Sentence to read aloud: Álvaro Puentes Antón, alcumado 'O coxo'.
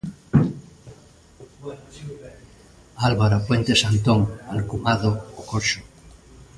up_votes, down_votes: 2, 0